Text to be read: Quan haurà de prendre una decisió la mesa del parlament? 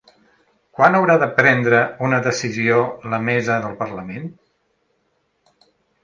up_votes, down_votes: 3, 0